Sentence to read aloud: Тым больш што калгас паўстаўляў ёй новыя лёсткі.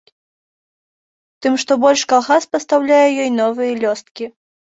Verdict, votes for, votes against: rejected, 1, 2